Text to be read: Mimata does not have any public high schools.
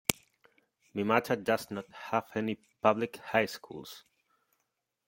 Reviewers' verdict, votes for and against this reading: accepted, 2, 1